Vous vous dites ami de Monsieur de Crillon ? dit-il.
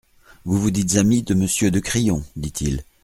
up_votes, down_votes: 2, 0